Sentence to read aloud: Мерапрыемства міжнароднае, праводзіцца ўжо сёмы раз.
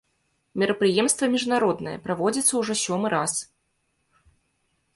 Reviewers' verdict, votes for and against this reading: accepted, 2, 0